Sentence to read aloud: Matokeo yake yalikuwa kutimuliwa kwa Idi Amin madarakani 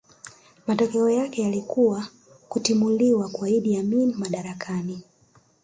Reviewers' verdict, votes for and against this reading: accepted, 2, 0